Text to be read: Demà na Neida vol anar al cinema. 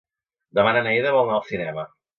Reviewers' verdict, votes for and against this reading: accepted, 5, 0